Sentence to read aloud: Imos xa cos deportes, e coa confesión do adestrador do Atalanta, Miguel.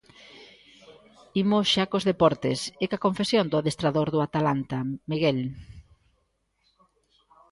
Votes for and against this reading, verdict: 2, 0, accepted